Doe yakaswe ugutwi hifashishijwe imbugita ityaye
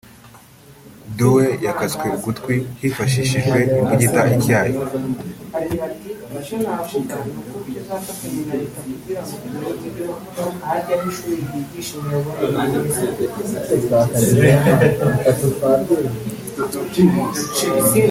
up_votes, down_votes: 0, 2